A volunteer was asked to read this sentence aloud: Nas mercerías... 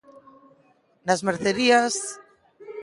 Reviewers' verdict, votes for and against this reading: accepted, 2, 0